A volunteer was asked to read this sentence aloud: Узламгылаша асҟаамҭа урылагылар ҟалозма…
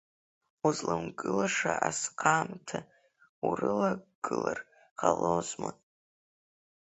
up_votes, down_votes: 4, 0